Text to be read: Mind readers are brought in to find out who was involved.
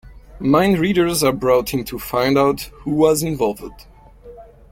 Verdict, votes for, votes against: rejected, 1, 2